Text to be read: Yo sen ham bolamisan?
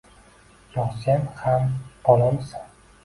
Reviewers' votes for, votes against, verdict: 2, 1, accepted